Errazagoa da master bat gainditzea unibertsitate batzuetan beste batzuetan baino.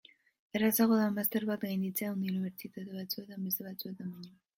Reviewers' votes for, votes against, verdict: 1, 2, rejected